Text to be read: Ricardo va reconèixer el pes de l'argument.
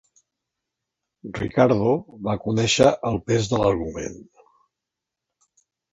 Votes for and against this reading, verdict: 0, 2, rejected